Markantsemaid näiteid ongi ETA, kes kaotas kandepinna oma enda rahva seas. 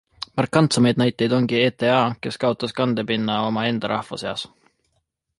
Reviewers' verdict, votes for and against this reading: accepted, 2, 0